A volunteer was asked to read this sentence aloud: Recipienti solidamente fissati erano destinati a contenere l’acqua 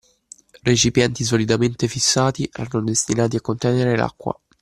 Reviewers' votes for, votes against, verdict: 2, 0, accepted